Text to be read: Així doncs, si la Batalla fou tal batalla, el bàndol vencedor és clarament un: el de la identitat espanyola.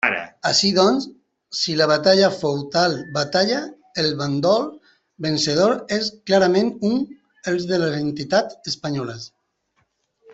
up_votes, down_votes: 0, 2